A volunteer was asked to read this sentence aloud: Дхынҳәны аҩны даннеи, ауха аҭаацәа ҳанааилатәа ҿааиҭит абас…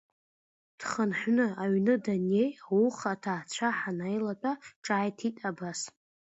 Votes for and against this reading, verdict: 2, 0, accepted